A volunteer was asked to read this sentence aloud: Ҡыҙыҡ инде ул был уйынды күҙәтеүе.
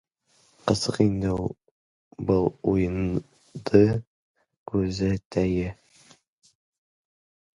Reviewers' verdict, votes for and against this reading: rejected, 0, 2